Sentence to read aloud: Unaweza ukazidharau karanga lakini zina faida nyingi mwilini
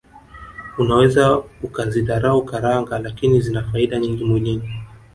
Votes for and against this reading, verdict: 1, 2, rejected